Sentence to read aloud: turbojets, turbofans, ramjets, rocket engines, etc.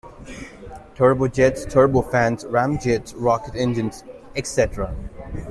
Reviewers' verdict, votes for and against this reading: accepted, 2, 1